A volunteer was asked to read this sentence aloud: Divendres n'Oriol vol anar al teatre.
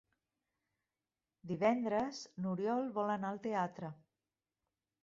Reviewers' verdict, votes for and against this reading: accepted, 3, 0